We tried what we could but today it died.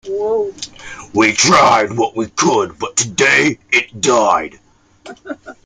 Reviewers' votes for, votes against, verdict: 1, 2, rejected